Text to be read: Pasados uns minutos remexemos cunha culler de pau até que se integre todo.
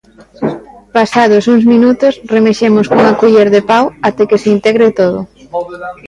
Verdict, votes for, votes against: rejected, 1, 2